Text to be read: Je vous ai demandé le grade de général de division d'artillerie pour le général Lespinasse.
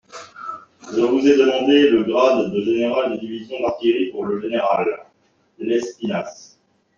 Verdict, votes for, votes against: rejected, 1, 2